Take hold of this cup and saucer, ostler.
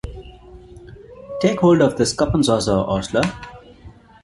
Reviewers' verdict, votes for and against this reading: accepted, 2, 0